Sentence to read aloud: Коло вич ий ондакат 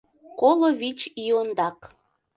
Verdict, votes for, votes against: rejected, 0, 2